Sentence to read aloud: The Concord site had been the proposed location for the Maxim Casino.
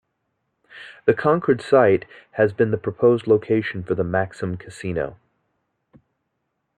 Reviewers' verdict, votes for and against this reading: rejected, 0, 2